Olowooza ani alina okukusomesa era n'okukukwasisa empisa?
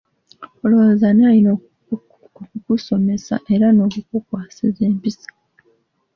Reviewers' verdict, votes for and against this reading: rejected, 0, 2